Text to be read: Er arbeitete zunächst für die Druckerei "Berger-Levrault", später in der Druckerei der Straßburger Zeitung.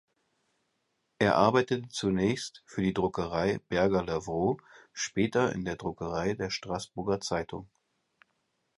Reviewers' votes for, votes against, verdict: 0, 6, rejected